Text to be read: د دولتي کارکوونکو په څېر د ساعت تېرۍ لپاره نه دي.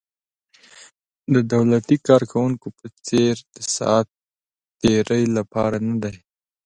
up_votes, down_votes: 1, 2